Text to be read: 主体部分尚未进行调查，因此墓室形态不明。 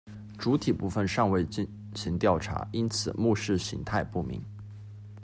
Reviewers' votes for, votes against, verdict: 0, 2, rejected